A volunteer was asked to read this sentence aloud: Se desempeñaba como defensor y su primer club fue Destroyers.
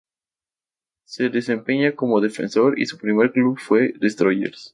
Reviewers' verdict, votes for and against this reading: accepted, 2, 0